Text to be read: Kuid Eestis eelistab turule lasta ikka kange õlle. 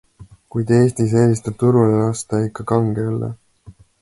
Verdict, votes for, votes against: accepted, 2, 0